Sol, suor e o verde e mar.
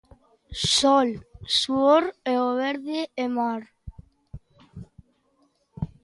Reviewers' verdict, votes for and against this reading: accepted, 2, 0